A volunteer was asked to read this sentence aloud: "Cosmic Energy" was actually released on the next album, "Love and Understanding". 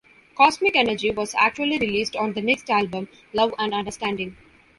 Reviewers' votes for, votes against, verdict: 2, 0, accepted